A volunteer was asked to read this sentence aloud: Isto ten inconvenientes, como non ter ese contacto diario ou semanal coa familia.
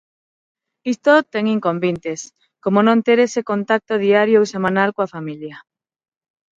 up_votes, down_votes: 3, 6